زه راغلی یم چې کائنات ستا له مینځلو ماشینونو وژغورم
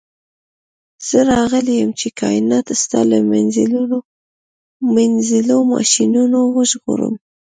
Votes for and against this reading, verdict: 1, 2, rejected